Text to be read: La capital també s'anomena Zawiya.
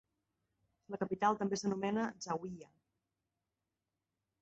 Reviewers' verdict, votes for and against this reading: accepted, 2, 0